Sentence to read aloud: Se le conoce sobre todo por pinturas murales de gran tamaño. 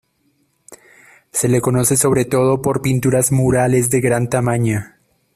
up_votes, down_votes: 0, 2